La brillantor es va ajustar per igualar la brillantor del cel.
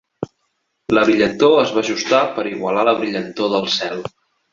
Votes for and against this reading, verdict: 3, 1, accepted